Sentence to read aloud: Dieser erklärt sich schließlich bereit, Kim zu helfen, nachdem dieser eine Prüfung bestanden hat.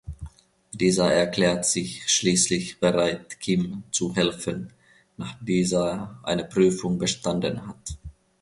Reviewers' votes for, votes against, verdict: 1, 2, rejected